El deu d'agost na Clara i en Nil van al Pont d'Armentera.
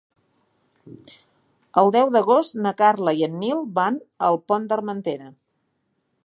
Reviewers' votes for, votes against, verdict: 0, 2, rejected